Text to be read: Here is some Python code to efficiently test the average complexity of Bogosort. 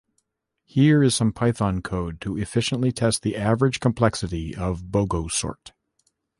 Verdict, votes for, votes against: accepted, 2, 0